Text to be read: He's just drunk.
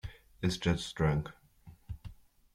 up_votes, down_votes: 1, 2